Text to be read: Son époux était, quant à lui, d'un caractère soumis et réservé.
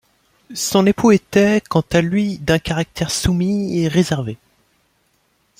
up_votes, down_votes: 2, 0